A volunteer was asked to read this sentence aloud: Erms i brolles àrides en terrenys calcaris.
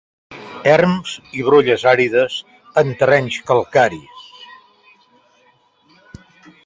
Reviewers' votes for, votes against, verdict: 2, 0, accepted